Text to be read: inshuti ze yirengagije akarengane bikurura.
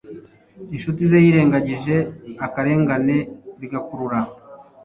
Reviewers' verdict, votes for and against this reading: rejected, 0, 2